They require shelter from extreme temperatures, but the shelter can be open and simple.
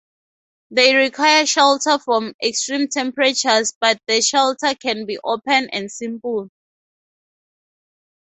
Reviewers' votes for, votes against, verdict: 0, 2, rejected